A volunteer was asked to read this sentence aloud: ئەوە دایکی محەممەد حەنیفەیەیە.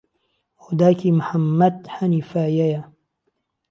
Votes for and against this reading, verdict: 1, 2, rejected